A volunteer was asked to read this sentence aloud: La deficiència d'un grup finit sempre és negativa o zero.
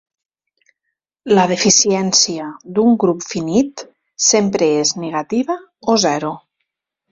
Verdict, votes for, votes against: accepted, 2, 0